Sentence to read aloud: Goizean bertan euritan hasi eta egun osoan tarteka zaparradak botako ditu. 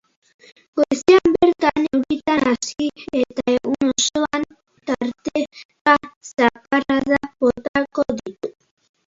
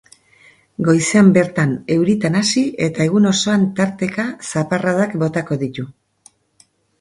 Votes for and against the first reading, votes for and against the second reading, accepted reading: 0, 3, 4, 0, second